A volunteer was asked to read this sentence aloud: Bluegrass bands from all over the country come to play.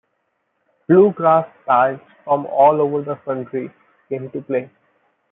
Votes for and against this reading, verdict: 0, 2, rejected